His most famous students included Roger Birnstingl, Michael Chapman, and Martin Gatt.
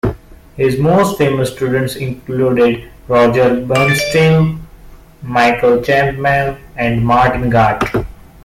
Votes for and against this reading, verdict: 0, 2, rejected